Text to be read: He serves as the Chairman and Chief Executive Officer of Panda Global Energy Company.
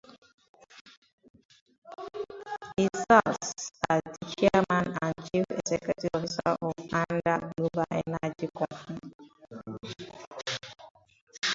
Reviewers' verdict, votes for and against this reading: rejected, 0, 30